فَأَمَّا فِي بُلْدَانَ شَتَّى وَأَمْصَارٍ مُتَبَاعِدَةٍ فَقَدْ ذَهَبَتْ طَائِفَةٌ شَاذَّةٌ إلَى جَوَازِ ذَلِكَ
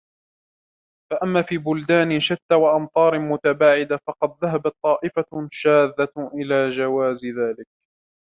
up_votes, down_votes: 0, 2